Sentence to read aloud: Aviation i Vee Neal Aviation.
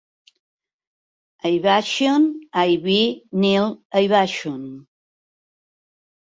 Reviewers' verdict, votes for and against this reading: rejected, 0, 2